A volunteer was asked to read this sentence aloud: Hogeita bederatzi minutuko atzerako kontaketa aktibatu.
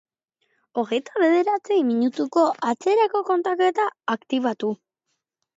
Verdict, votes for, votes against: accepted, 2, 0